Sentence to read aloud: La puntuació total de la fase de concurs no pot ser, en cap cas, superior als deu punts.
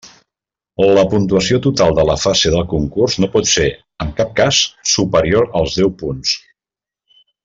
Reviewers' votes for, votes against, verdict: 1, 2, rejected